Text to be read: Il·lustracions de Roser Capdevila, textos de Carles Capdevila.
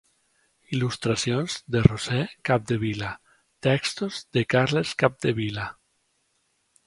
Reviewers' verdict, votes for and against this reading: accepted, 2, 0